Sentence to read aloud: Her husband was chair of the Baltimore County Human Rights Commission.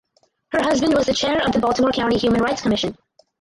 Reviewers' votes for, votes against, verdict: 0, 4, rejected